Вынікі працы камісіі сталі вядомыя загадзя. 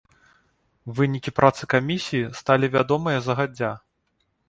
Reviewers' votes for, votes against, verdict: 1, 2, rejected